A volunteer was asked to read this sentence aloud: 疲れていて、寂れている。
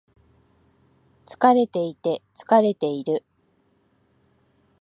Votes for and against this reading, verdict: 1, 2, rejected